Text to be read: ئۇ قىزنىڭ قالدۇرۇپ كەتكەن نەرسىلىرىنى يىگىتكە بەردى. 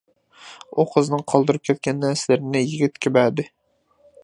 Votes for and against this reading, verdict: 2, 0, accepted